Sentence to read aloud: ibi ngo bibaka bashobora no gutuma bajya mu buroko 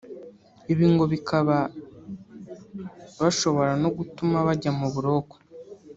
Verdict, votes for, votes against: accepted, 2, 0